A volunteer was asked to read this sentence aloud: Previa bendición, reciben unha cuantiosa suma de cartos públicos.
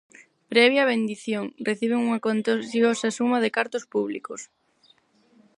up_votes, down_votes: 0, 4